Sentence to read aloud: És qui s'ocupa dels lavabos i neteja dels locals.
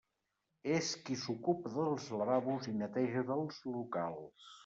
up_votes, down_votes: 2, 1